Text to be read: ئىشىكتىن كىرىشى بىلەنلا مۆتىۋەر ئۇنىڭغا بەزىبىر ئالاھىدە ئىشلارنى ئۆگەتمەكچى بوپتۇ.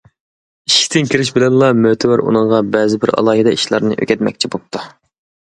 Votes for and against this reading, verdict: 2, 0, accepted